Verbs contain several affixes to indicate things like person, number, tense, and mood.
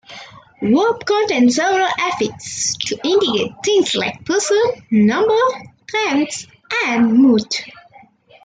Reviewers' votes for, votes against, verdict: 2, 1, accepted